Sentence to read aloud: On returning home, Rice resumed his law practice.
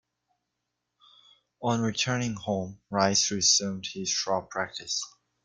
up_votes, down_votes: 1, 2